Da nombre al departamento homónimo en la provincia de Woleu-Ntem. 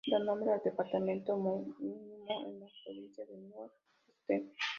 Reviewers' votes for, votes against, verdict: 1, 2, rejected